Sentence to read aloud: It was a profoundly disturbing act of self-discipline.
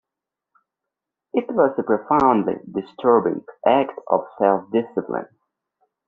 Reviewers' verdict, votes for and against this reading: accepted, 2, 0